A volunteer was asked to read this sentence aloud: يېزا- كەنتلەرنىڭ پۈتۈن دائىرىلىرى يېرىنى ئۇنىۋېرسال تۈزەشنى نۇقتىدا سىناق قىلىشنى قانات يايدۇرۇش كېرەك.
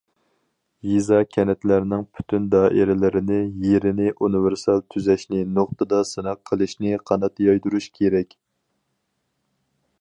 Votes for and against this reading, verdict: 2, 4, rejected